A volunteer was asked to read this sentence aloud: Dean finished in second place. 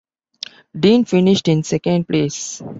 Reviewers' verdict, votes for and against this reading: accepted, 2, 0